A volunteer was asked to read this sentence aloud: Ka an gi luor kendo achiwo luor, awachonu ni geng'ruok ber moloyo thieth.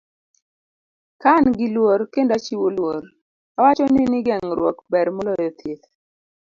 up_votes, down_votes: 2, 0